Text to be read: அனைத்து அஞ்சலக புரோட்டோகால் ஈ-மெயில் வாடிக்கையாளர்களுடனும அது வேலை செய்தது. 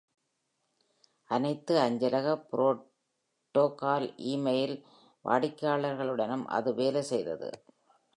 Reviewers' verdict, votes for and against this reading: rejected, 2, 3